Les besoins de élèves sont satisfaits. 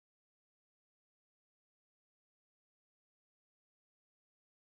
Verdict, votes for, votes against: rejected, 0, 2